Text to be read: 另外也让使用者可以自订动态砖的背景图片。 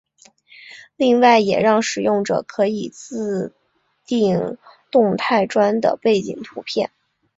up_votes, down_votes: 2, 0